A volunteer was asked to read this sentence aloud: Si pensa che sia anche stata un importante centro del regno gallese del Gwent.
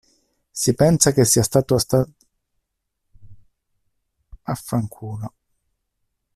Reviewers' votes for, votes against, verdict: 0, 2, rejected